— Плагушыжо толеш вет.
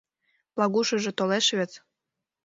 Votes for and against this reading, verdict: 2, 0, accepted